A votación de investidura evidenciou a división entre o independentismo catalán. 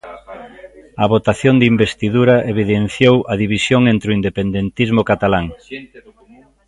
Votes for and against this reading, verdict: 0, 2, rejected